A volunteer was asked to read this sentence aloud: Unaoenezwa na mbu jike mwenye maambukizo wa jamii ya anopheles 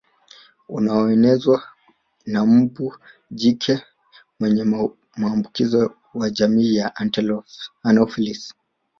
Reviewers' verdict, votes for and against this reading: rejected, 1, 2